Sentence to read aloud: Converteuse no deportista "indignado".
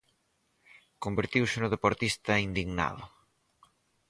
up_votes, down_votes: 0, 4